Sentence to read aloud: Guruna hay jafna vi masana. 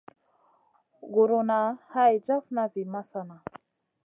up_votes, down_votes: 2, 0